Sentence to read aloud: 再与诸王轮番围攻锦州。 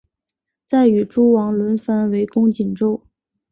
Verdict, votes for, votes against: accepted, 2, 0